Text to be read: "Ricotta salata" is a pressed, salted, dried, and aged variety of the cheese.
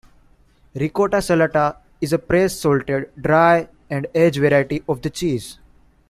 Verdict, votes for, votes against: accepted, 2, 0